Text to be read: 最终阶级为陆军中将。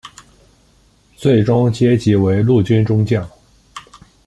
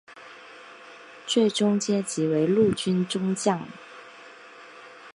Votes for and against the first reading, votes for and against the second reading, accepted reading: 2, 0, 0, 2, first